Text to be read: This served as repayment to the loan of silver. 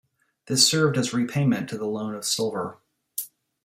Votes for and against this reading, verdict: 2, 0, accepted